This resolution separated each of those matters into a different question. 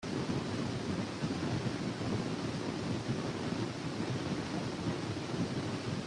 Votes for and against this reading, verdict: 0, 2, rejected